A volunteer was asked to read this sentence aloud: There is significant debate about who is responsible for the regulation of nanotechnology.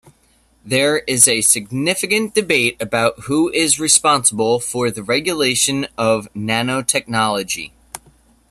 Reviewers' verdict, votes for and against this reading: accepted, 2, 1